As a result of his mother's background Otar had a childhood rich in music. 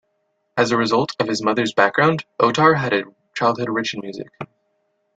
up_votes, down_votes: 2, 0